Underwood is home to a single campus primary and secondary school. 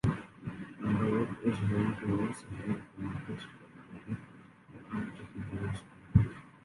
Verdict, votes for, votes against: rejected, 0, 2